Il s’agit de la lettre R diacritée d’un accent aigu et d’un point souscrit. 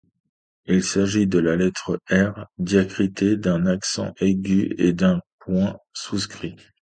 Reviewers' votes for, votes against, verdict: 2, 0, accepted